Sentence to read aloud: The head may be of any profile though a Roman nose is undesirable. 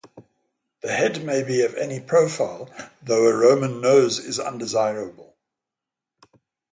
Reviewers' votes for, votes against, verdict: 3, 0, accepted